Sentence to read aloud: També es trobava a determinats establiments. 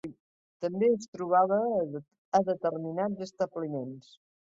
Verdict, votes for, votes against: rejected, 1, 2